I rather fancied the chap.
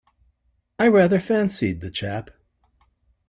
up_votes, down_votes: 2, 0